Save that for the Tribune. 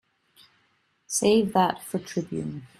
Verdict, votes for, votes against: rejected, 1, 2